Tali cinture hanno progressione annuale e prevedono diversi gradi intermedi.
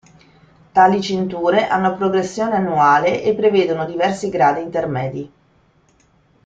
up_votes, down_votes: 2, 0